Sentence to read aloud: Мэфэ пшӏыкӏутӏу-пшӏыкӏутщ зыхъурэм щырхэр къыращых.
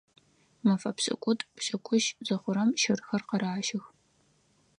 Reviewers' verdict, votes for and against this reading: rejected, 0, 4